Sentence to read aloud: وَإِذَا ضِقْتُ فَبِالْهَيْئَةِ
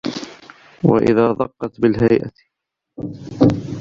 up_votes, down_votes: 0, 2